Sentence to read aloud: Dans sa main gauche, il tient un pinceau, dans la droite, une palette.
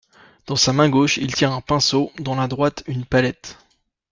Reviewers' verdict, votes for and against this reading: accepted, 2, 0